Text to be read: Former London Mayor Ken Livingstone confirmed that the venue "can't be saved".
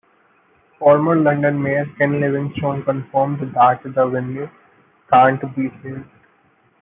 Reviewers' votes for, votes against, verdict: 1, 2, rejected